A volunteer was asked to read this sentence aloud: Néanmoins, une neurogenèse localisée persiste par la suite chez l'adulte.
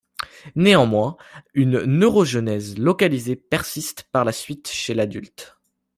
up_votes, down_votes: 2, 0